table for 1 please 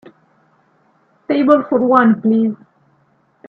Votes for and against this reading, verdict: 0, 2, rejected